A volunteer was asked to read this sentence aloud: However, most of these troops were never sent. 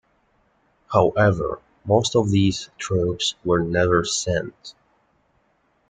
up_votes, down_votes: 2, 1